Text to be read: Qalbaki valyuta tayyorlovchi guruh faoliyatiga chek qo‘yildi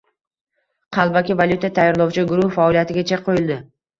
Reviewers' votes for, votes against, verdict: 2, 0, accepted